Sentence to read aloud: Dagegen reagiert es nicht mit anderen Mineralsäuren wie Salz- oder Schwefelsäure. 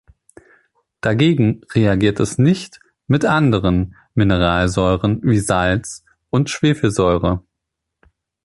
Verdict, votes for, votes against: rejected, 1, 2